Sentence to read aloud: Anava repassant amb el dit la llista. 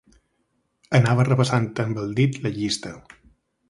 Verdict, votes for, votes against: accepted, 2, 0